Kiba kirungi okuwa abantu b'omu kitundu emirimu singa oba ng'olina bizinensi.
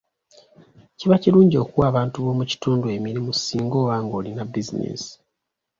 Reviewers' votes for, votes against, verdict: 2, 0, accepted